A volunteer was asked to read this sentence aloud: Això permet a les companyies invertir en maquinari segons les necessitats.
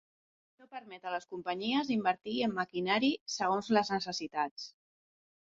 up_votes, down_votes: 1, 2